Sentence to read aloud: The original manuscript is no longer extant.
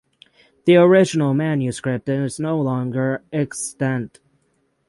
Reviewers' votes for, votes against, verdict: 6, 0, accepted